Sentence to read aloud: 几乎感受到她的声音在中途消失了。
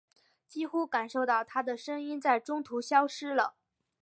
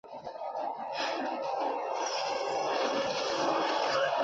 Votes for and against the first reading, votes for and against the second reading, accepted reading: 4, 0, 1, 5, first